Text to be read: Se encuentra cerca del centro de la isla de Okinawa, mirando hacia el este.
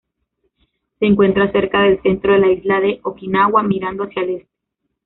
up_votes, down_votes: 0, 2